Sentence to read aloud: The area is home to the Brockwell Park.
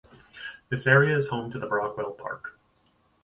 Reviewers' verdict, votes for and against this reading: rejected, 0, 2